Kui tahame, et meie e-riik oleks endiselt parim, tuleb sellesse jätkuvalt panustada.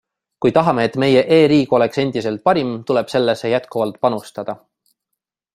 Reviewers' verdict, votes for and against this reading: accepted, 2, 0